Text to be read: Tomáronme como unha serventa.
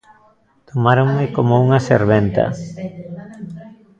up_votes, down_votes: 1, 2